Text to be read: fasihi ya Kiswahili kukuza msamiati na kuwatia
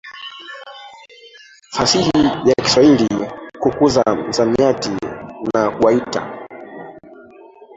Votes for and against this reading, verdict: 0, 2, rejected